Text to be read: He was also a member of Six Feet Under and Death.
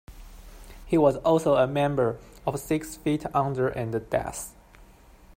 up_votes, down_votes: 0, 2